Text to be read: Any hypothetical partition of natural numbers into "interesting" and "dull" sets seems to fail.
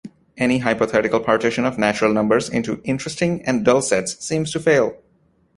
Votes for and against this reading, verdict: 2, 0, accepted